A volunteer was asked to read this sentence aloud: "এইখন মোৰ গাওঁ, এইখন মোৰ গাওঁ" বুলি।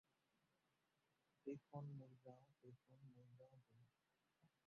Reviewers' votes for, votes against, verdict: 0, 4, rejected